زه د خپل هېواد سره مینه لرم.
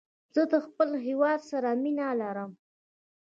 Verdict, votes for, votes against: accepted, 2, 0